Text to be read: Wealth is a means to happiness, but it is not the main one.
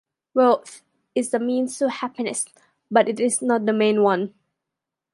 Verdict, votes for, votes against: accepted, 3, 2